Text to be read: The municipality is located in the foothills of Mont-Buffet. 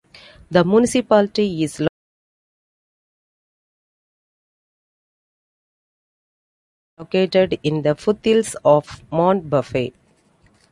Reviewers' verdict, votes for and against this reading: rejected, 0, 2